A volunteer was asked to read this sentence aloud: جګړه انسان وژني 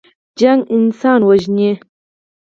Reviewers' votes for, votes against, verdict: 4, 2, accepted